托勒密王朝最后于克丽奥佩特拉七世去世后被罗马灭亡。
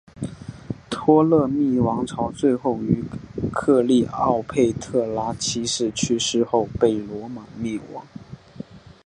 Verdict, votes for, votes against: accepted, 3, 0